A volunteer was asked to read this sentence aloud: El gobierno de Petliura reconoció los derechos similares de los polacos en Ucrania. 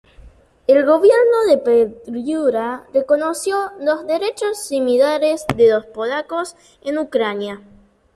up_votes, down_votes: 0, 2